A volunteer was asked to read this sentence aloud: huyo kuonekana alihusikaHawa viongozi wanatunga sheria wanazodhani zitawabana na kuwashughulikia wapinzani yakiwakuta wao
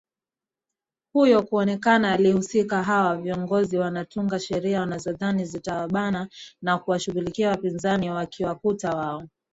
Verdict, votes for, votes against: rejected, 0, 2